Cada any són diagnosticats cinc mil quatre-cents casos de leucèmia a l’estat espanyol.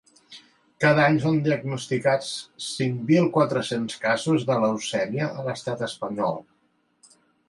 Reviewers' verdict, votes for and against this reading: accepted, 2, 0